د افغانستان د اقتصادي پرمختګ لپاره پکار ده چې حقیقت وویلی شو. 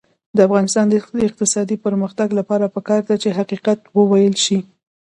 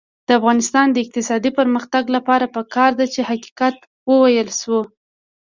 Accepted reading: first